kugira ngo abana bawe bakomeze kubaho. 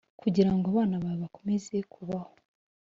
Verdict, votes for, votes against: accepted, 2, 0